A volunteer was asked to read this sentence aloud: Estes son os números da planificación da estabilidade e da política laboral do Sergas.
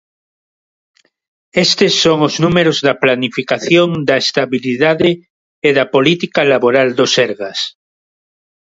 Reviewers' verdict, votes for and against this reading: accepted, 4, 0